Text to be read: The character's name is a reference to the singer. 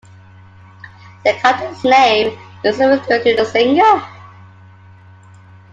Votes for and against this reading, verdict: 1, 2, rejected